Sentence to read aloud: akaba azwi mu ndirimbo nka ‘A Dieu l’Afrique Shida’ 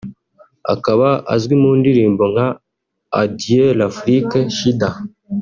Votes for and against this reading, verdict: 2, 1, accepted